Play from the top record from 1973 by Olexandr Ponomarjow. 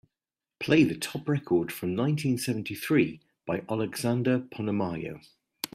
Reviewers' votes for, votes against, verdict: 0, 2, rejected